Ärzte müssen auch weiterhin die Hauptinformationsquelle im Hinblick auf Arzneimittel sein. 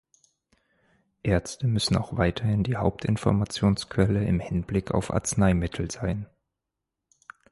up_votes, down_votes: 2, 4